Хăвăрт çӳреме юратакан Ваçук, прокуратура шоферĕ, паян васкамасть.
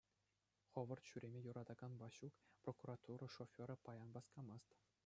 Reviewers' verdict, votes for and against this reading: accepted, 2, 0